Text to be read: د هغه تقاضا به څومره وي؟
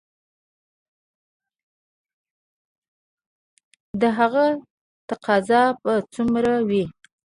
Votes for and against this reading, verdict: 0, 2, rejected